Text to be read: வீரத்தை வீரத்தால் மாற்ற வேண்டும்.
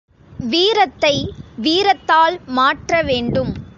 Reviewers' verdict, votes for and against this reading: rejected, 1, 2